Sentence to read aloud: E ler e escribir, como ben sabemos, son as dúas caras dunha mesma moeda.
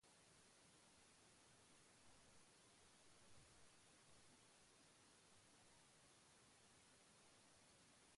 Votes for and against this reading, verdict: 0, 2, rejected